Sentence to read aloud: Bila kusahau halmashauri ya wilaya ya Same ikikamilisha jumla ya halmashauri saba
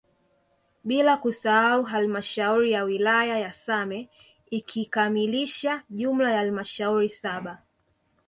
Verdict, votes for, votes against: rejected, 0, 2